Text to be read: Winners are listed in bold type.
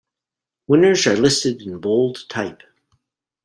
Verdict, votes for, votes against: accepted, 2, 0